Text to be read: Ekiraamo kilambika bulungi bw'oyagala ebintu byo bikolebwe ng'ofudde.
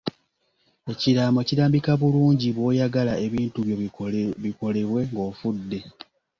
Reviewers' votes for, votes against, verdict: 0, 2, rejected